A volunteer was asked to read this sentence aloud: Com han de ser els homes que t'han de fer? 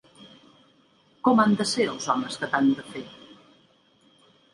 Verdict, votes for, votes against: accepted, 2, 1